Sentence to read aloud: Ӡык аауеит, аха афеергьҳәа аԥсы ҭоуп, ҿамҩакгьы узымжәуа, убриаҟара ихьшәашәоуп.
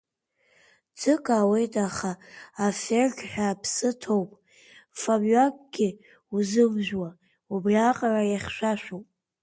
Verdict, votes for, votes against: accepted, 2, 0